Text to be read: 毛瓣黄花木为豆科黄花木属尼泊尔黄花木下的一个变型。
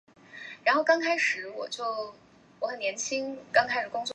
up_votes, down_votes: 0, 4